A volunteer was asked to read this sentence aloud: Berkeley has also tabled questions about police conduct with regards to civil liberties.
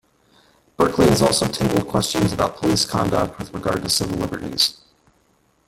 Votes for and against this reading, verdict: 0, 2, rejected